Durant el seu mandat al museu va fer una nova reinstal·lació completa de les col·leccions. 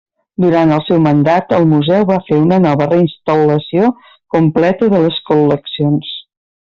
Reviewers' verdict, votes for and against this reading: rejected, 0, 2